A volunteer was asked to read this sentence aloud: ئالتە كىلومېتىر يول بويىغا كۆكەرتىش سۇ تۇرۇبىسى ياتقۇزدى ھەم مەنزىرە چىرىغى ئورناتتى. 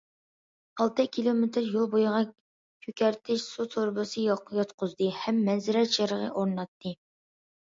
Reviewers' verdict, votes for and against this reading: accepted, 2, 1